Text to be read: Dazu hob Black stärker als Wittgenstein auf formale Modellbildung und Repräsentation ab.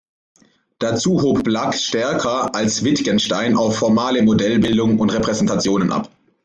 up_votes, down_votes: 2, 0